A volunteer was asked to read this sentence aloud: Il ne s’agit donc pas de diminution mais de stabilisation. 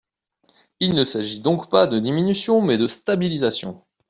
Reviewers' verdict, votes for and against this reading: accepted, 2, 0